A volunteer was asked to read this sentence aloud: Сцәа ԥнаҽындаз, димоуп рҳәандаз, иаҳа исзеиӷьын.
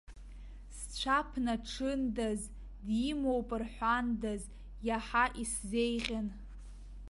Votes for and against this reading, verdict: 2, 0, accepted